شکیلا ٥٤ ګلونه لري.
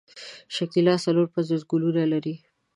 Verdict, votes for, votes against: rejected, 0, 2